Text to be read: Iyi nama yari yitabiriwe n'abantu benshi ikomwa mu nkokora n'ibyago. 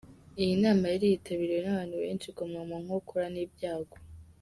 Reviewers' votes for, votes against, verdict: 0, 2, rejected